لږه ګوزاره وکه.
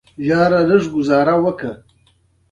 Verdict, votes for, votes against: rejected, 0, 2